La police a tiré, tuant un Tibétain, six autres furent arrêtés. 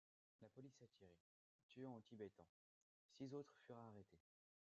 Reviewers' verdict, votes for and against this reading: rejected, 1, 3